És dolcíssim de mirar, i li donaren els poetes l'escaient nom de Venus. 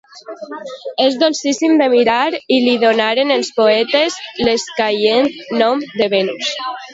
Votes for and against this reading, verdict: 2, 0, accepted